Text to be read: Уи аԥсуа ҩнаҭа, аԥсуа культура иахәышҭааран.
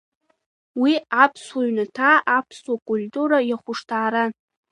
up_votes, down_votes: 2, 0